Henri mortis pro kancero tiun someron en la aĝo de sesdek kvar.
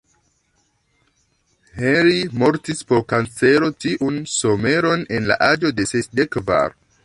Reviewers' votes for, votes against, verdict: 1, 2, rejected